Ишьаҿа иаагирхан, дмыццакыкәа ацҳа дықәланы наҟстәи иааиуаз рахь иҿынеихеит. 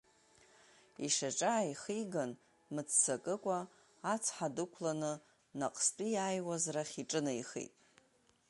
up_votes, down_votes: 0, 2